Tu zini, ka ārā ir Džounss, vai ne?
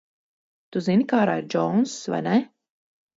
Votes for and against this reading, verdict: 4, 0, accepted